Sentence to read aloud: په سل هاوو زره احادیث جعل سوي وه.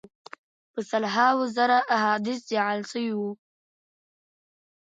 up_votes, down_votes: 1, 2